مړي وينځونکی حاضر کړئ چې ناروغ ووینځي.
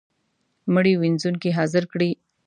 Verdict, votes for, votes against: rejected, 1, 2